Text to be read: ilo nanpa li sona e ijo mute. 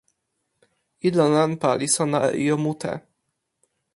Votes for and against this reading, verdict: 2, 1, accepted